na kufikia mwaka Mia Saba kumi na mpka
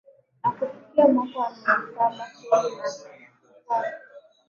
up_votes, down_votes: 0, 2